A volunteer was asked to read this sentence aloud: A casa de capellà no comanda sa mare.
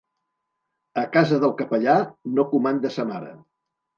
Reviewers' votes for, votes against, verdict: 0, 2, rejected